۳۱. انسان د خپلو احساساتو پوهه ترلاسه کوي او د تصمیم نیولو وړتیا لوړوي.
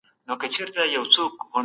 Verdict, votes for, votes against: rejected, 0, 2